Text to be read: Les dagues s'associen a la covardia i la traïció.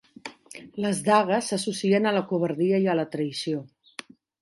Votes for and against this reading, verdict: 0, 2, rejected